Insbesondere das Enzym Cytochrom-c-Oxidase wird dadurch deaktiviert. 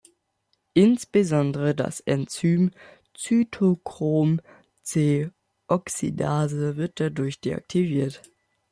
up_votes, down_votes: 2, 0